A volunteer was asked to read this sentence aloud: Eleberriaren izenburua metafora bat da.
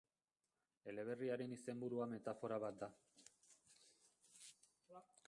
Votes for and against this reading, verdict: 0, 2, rejected